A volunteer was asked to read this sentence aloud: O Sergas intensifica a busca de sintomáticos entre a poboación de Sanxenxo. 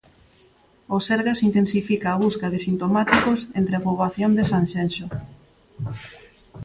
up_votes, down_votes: 3, 0